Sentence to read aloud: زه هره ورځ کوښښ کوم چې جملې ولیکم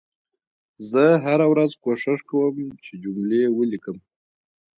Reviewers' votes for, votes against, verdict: 0, 2, rejected